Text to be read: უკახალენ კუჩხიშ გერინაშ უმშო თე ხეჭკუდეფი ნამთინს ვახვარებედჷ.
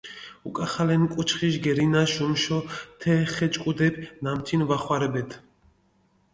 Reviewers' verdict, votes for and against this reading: rejected, 0, 2